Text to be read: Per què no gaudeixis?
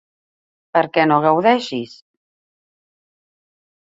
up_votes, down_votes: 1, 2